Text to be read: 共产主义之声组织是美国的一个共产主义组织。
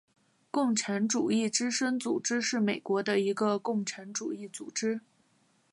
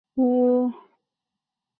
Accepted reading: first